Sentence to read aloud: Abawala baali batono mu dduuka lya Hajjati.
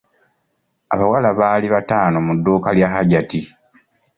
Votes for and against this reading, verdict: 2, 1, accepted